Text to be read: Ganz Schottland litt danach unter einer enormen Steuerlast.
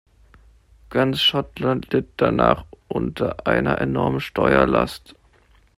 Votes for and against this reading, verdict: 2, 0, accepted